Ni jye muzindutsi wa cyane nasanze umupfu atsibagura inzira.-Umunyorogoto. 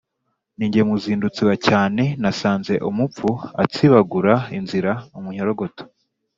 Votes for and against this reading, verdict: 2, 0, accepted